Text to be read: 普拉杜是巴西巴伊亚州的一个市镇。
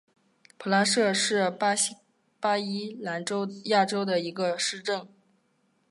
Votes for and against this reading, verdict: 2, 3, rejected